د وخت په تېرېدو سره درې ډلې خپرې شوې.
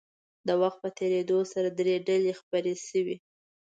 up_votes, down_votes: 2, 0